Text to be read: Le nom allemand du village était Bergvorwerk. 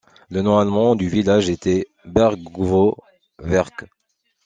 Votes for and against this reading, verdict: 2, 1, accepted